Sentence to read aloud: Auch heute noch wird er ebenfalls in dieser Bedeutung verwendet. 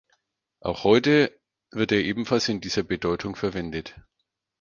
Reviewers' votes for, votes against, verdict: 0, 4, rejected